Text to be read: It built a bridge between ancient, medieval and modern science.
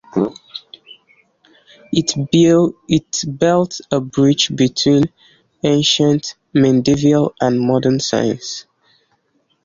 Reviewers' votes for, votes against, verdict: 1, 3, rejected